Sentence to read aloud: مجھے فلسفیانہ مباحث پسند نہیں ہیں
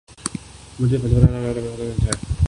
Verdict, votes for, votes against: rejected, 0, 2